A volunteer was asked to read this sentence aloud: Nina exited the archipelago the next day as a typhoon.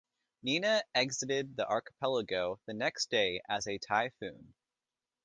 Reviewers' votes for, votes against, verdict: 2, 0, accepted